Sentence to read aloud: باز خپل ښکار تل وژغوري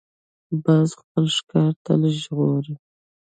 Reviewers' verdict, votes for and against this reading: rejected, 1, 2